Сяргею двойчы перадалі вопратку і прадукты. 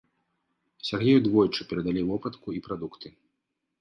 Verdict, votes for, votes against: accepted, 2, 1